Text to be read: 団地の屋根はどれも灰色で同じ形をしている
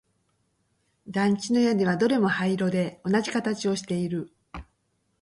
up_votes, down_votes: 2, 0